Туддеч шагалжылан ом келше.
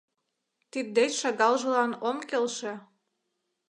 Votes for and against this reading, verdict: 0, 2, rejected